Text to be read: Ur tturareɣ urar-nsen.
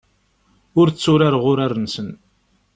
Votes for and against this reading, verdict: 2, 0, accepted